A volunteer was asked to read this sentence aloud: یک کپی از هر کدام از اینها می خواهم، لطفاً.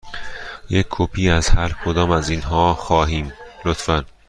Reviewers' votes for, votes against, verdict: 1, 2, rejected